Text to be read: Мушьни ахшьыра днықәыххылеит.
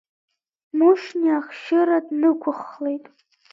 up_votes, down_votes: 0, 2